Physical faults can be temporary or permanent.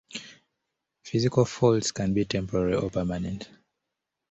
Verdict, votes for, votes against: accepted, 2, 0